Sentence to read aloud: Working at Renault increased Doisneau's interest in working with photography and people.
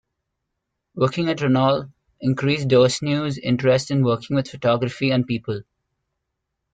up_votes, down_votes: 1, 2